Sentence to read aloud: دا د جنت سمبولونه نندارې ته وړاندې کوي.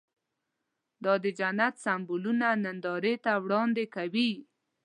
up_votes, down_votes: 2, 0